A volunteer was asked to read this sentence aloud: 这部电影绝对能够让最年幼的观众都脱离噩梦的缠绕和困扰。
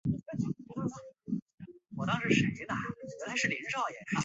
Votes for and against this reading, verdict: 0, 4, rejected